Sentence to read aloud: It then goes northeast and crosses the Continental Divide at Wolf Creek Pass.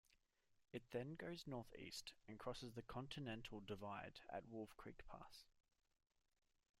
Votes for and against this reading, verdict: 0, 2, rejected